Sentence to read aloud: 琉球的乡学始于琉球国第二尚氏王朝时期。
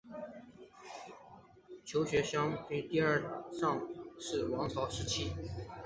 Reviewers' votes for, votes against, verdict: 3, 2, accepted